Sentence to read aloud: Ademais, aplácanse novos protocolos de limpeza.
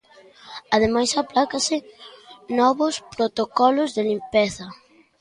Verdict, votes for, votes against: rejected, 1, 2